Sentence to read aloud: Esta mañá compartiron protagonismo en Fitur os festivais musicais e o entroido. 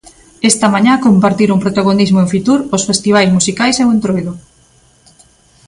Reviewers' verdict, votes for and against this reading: accepted, 2, 0